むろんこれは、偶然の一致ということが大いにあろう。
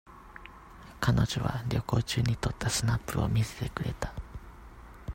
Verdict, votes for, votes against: rejected, 0, 2